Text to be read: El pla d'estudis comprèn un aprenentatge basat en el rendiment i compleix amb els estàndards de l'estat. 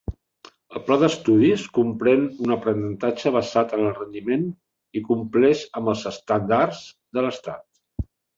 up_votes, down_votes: 0, 2